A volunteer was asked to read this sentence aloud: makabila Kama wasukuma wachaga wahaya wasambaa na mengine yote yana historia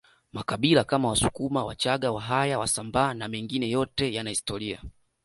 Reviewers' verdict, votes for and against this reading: rejected, 1, 2